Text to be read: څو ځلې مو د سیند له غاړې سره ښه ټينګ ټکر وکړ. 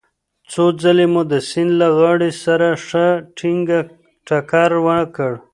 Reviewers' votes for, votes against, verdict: 2, 0, accepted